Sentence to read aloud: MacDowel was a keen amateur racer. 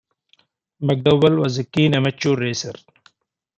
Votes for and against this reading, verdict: 0, 2, rejected